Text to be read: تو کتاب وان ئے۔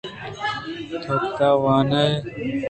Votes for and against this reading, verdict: 1, 2, rejected